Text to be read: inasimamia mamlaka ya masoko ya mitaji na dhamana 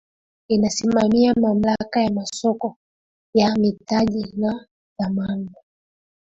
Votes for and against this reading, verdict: 2, 0, accepted